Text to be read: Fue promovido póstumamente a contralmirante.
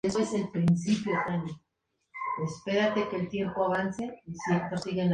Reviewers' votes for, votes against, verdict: 2, 2, rejected